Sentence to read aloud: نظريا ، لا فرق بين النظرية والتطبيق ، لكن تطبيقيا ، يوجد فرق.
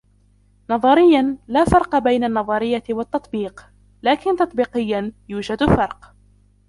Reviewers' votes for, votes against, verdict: 0, 2, rejected